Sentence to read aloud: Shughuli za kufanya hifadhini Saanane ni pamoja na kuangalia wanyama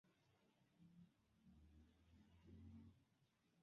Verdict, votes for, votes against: rejected, 1, 2